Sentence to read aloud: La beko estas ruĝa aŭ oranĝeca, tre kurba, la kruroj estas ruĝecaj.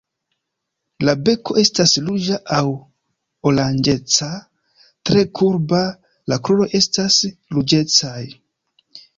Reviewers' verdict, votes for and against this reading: accepted, 2, 0